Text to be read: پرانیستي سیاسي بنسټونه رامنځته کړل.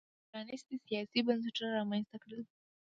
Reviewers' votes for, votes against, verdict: 2, 0, accepted